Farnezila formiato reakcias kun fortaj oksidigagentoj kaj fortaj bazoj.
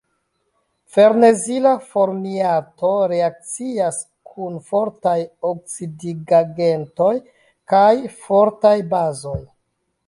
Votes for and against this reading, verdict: 0, 2, rejected